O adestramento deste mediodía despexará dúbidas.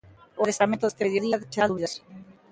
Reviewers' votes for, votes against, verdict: 0, 2, rejected